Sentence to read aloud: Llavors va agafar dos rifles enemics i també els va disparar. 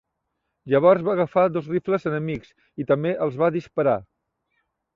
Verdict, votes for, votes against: accepted, 2, 0